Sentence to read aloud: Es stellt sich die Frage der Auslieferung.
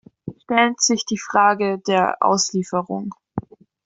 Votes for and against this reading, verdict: 0, 2, rejected